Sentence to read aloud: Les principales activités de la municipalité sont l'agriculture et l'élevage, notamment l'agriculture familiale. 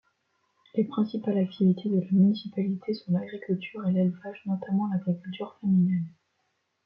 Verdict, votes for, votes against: accepted, 2, 0